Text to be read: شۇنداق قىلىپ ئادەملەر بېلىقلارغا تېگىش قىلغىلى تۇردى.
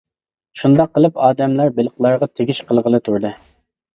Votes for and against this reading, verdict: 2, 0, accepted